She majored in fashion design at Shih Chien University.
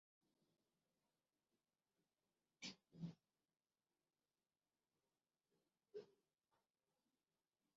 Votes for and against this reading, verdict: 0, 2, rejected